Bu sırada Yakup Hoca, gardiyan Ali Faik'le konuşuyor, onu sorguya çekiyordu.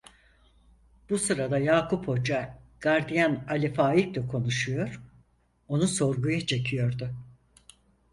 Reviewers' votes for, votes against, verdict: 4, 0, accepted